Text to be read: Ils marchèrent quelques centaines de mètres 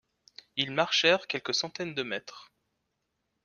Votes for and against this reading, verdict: 2, 0, accepted